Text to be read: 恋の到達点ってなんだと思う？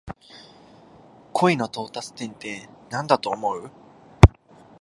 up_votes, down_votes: 2, 0